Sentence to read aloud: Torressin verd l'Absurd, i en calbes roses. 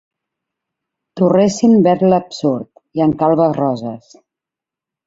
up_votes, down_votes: 2, 0